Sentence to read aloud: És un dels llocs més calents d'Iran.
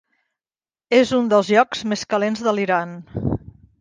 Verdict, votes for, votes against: rejected, 1, 2